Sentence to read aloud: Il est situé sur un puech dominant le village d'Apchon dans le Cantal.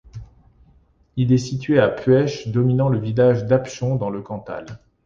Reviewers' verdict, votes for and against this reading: rejected, 1, 2